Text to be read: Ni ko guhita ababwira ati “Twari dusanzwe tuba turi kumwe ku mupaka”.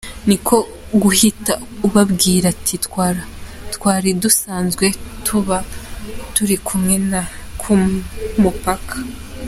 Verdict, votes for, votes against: rejected, 0, 2